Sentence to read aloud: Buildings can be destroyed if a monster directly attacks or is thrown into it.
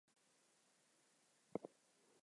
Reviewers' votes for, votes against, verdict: 4, 0, accepted